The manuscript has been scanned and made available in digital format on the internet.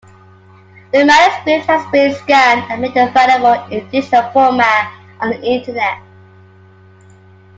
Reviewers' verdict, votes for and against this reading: accepted, 2, 1